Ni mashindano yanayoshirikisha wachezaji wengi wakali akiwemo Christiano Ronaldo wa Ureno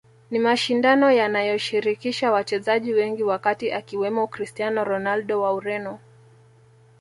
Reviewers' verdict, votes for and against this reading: rejected, 1, 2